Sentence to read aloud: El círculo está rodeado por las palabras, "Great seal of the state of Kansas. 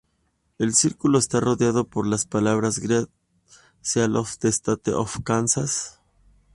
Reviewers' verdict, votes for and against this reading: rejected, 0, 2